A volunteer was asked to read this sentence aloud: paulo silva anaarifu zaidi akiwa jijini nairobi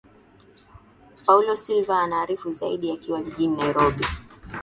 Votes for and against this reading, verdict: 4, 1, accepted